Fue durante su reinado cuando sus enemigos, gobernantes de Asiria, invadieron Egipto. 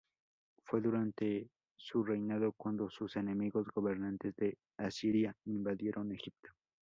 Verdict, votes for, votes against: rejected, 0, 2